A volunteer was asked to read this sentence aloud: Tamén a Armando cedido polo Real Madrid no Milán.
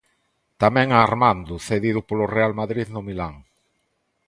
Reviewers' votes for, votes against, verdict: 2, 0, accepted